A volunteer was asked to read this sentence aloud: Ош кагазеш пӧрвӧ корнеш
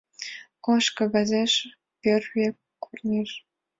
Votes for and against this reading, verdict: 2, 0, accepted